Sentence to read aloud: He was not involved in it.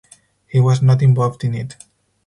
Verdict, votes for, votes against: accepted, 4, 0